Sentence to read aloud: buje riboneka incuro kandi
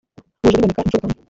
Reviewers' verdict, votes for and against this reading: rejected, 0, 2